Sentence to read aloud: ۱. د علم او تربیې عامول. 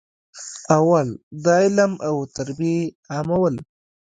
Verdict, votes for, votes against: rejected, 0, 2